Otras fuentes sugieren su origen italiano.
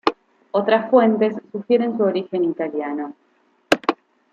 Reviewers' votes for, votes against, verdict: 2, 0, accepted